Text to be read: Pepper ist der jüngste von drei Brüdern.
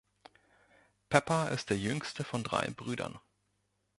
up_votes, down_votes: 1, 2